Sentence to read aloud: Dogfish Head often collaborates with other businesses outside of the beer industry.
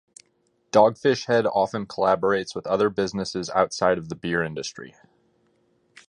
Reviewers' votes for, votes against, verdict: 2, 0, accepted